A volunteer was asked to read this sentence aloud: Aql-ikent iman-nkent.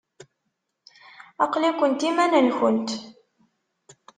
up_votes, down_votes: 2, 0